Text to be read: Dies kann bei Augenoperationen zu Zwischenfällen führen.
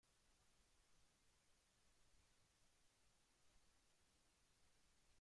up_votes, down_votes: 0, 2